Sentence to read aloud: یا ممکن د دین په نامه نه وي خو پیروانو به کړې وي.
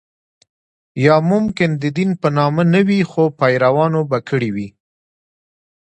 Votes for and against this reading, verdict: 2, 1, accepted